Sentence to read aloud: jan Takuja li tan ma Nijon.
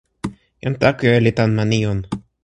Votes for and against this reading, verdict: 2, 0, accepted